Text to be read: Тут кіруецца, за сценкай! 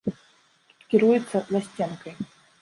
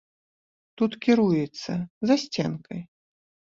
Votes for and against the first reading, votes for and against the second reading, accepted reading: 1, 2, 2, 0, second